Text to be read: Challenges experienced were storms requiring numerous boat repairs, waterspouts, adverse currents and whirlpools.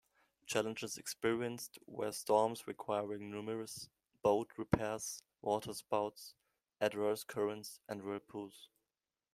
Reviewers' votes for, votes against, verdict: 1, 2, rejected